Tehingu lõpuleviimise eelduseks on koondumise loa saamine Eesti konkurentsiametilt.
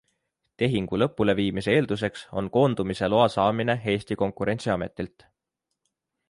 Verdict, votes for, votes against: accepted, 2, 0